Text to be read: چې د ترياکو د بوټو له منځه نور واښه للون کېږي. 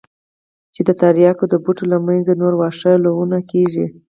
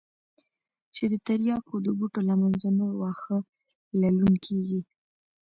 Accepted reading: first